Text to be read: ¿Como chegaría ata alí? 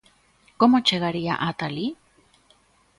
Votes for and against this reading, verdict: 2, 0, accepted